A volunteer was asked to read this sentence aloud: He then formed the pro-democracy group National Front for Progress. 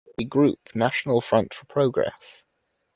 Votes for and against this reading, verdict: 0, 2, rejected